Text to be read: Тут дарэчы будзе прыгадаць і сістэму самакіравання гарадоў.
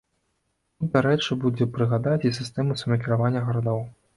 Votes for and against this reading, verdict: 1, 2, rejected